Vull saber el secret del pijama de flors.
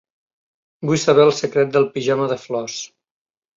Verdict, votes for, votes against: accepted, 3, 0